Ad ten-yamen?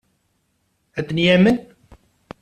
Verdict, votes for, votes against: accepted, 2, 0